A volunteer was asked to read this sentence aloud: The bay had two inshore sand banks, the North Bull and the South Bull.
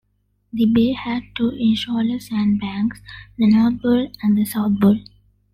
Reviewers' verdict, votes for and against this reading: accepted, 2, 0